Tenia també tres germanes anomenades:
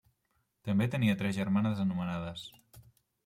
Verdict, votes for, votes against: rejected, 1, 2